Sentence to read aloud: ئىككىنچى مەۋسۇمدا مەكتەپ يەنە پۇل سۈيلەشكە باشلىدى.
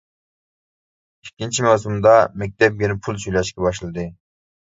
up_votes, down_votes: 0, 2